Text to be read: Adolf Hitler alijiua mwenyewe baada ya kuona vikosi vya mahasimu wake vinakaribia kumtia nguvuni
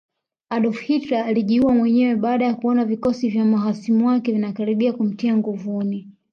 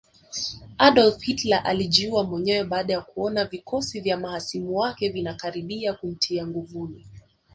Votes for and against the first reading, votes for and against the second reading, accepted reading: 2, 0, 1, 2, first